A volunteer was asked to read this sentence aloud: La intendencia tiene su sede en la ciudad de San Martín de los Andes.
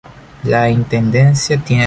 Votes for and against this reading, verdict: 0, 2, rejected